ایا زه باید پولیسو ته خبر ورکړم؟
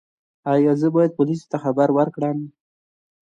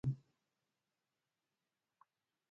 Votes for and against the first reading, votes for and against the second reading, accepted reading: 2, 0, 1, 2, first